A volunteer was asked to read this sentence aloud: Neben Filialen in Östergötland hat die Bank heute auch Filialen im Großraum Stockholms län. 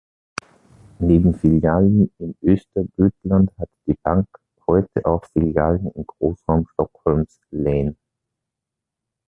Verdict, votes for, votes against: rejected, 1, 2